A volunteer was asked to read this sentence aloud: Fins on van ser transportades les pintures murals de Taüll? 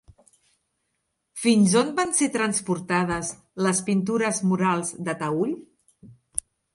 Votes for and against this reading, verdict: 3, 0, accepted